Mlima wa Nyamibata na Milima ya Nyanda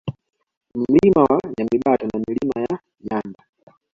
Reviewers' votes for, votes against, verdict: 2, 1, accepted